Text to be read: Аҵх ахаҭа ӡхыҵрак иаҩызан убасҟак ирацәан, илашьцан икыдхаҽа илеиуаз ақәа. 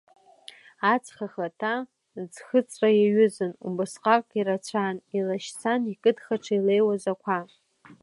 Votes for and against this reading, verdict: 2, 0, accepted